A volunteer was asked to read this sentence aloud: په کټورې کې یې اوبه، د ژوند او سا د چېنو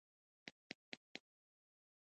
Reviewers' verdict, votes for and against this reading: rejected, 0, 2